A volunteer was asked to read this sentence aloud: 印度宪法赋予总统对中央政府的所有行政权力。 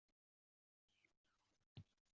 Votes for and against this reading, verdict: 0, 3, rejected